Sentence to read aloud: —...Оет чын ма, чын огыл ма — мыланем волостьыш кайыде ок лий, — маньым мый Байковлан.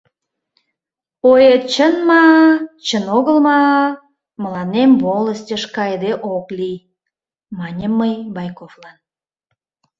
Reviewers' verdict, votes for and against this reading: accepted, 2, 0